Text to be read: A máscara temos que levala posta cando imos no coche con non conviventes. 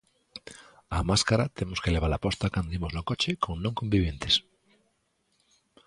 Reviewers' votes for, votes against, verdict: 2, 0, accepted